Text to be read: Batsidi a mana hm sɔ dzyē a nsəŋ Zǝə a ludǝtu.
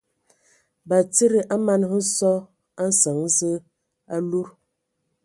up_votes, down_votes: 1, 2